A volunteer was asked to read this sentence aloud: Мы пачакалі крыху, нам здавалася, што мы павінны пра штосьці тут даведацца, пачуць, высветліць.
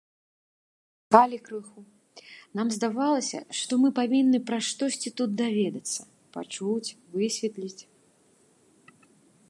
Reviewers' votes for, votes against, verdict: 0, 2, rejected